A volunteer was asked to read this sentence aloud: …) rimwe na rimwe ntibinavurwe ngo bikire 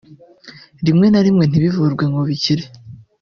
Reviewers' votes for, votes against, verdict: 2, 1, accepted